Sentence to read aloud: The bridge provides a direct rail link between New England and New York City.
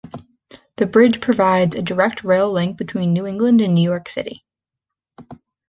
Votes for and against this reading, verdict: 2, 0, accepted